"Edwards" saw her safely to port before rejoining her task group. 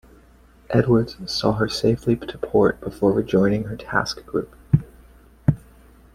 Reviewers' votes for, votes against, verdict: 2, 0, accepted